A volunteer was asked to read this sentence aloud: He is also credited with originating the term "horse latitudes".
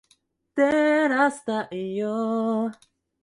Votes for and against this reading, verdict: 0, 2, rejected